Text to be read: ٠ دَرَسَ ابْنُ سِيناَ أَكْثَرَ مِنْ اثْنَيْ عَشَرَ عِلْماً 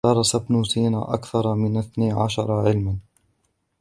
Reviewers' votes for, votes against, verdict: 0, 2, rejected